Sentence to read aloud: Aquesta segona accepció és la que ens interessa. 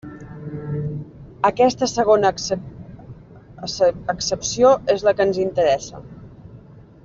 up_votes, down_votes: 0, 2